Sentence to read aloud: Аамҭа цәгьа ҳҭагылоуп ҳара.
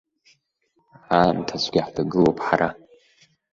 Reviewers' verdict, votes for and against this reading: accepted, 2, 0